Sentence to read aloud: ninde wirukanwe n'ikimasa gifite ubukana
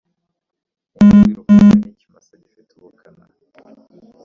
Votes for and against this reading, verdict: 0, 2, rejected